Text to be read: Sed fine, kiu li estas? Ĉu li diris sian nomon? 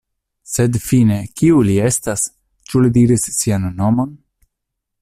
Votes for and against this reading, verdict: 2, 0, accepted